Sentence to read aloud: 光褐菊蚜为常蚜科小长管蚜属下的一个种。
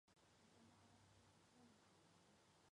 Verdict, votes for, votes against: rejected, 0, 4